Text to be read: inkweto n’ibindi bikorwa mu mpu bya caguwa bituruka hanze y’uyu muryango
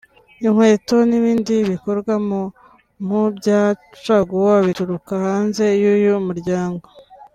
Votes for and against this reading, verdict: 2, 0, accepted